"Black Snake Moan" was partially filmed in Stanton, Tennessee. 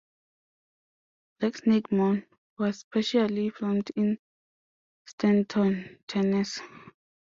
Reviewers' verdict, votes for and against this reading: rejected, 1, 2